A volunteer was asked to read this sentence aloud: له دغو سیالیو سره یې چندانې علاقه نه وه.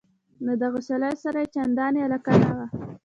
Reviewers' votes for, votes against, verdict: 1, 2, rejected